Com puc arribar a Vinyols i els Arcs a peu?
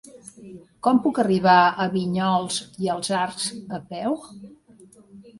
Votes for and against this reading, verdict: 2, 0, accepted